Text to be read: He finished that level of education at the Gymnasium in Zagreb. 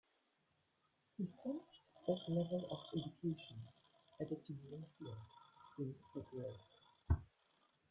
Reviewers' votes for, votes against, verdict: 0, 2, rejected